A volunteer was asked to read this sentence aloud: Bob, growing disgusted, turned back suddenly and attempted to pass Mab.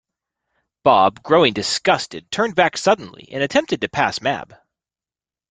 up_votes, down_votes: 2, 0